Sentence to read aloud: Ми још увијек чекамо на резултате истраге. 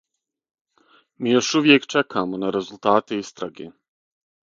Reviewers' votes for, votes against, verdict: 6, 0, accepted